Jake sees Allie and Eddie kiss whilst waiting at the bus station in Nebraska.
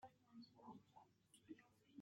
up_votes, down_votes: 0, 3